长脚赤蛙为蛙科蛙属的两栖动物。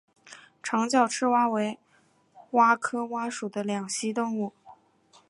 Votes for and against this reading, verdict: 1, 2, rejected